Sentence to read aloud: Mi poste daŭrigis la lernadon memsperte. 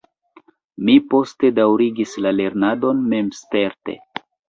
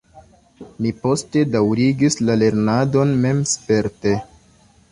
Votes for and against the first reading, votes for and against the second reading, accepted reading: 0, 2, 2, 1, second